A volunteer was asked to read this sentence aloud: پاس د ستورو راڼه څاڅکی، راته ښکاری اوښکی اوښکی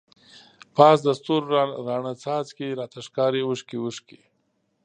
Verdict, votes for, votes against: rejected, 1, 2